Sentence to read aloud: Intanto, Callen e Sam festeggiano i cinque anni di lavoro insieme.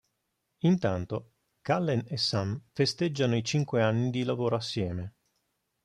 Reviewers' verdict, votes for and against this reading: rejected, 1, 2